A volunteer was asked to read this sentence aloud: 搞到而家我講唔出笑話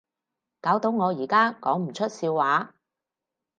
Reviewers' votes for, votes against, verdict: 2, 2, rejected